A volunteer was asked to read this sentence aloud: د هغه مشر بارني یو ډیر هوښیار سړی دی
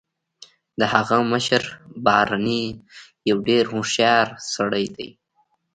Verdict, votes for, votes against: accepted, 2, 0